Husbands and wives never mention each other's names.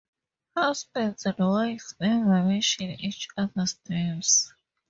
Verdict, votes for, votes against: rejected, 0, 2